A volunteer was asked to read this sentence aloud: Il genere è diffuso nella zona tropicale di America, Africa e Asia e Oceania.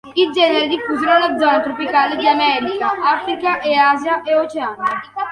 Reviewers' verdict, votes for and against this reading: accepted, 2, 0